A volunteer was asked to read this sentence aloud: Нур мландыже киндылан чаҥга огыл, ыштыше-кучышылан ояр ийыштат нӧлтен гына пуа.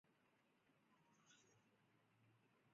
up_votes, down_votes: 1, 2